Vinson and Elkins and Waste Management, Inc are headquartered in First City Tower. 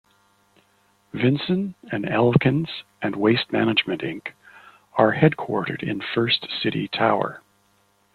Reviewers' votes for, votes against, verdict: 2, 0, accepted